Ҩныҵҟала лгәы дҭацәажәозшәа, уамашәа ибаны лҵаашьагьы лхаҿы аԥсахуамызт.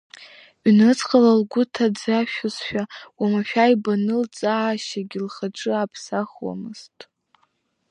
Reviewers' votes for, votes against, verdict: 0, 2, rejected